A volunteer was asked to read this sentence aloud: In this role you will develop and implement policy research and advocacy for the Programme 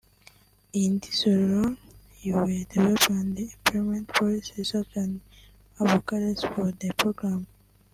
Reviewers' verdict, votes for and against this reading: rejected, 0, 2